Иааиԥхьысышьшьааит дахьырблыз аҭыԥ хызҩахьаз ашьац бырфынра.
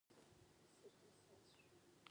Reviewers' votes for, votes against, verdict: 0, 2, rejected